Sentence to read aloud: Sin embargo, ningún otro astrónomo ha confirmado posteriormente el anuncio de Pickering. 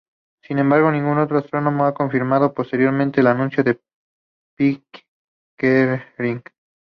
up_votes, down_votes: 0, 2